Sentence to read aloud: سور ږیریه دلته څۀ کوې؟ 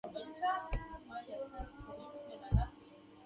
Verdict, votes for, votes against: rejected, 1, 2